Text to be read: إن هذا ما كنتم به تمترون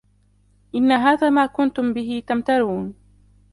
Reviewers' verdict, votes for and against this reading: rejected, 0, 2